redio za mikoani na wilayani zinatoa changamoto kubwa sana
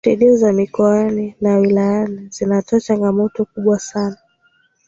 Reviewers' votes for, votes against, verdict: 2, 0, accepted